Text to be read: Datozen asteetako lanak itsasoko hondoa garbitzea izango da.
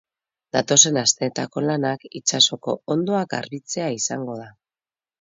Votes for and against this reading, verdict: 4, 0, accepted